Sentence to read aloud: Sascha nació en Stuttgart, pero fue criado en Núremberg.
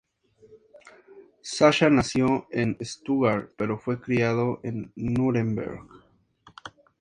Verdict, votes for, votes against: accepted, 2, 0